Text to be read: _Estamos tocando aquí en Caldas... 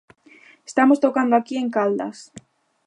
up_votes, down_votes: 2, 0